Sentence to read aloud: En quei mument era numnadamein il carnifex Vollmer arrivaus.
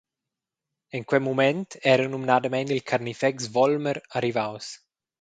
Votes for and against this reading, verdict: 0, 2, rejected